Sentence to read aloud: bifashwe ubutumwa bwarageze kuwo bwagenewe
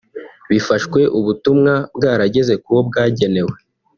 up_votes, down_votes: 3, 0